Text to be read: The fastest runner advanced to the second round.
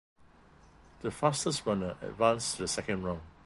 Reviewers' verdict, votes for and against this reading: accepted, 2, 0